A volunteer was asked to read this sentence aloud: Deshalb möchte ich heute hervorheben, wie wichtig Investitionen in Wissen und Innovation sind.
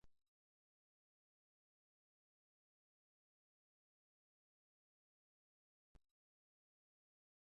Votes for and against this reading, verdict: 0, 2, rejected